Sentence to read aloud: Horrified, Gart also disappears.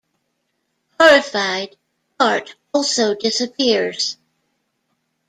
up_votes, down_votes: 2, 0